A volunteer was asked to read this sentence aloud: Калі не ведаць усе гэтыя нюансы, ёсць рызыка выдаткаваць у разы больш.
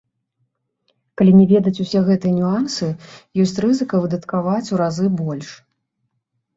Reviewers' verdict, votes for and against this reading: accepted, 2, 0